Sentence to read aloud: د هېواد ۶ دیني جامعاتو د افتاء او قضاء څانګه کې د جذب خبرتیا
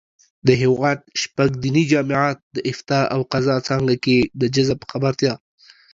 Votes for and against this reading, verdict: 0, 2, rejected